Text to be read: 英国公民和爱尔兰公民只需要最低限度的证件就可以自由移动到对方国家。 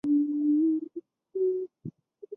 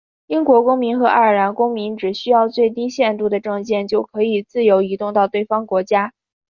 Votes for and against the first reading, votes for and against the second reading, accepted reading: 1, 4, 5, 0, second